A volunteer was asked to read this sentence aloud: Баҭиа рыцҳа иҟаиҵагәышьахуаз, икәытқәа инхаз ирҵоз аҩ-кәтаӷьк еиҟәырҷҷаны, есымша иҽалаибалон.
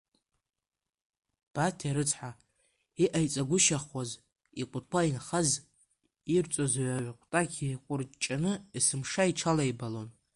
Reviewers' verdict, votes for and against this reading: rejected, 0, 2